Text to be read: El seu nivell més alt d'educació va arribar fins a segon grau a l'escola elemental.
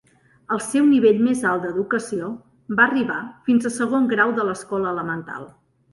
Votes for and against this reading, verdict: 0, 2, rejected